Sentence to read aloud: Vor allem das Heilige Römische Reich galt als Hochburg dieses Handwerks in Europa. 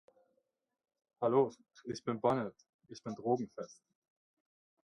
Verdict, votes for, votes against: rejected, 0, 2